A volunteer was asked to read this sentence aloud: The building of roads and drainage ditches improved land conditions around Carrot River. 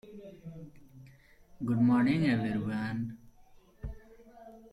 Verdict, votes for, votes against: rejected, 0, 2